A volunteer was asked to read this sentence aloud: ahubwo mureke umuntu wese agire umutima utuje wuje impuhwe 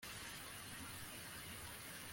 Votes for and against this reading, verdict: 0, 2, rejected